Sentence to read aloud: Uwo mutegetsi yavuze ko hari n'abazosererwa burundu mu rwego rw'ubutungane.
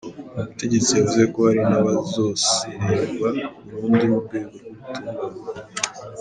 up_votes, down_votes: 0, 2